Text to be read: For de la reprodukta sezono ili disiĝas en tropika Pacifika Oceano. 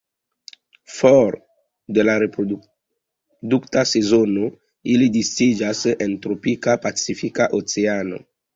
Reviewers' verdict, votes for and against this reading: rejected, 1, 2